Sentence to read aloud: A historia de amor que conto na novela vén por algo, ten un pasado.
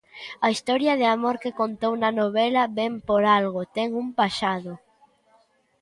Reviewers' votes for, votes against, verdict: 0, 2, rejected